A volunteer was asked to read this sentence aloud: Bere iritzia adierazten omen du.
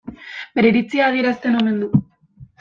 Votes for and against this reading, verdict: 2, 0, accepted